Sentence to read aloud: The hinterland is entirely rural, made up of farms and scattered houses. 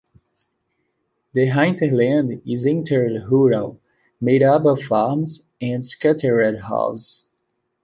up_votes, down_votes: 1, 2